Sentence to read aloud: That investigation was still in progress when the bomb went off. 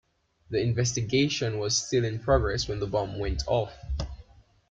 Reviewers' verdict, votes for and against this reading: rejected, 1, 2